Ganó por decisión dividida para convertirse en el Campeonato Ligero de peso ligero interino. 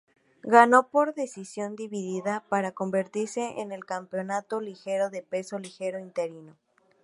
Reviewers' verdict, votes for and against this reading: accepted, 4, 0